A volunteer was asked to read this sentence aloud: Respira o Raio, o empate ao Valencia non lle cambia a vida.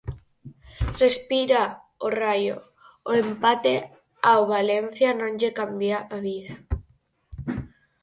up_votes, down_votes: 4, 0